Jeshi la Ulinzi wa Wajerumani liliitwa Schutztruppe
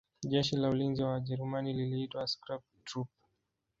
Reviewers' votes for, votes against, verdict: 1, 2, rejected